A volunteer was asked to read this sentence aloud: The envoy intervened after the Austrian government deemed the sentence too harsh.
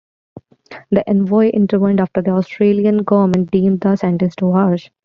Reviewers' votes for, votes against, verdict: 0, 2, rejected